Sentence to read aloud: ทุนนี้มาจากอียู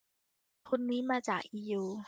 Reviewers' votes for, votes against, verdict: 2, 0, accepted